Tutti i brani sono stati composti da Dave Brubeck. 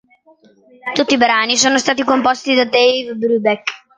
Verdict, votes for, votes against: accepted, 2, 0